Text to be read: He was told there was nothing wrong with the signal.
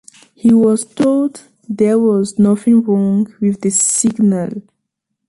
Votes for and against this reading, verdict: 2, 0, accepted